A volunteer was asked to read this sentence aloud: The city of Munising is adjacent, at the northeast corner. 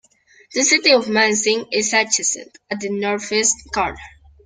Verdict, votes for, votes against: accepted, 2, 1